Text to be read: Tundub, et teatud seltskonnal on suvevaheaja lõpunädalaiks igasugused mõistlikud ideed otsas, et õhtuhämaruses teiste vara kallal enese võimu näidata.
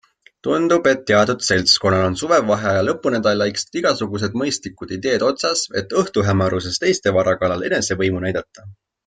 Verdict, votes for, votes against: accepted, 2, 0